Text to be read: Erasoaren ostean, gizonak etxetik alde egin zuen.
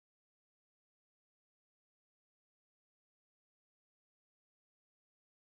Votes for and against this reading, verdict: 0, 2, rejected